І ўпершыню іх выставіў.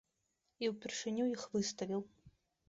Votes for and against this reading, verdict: 2, 0, accepted